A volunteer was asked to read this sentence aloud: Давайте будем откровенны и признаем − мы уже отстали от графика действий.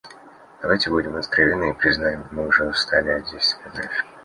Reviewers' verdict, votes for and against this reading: rejected, 0, 3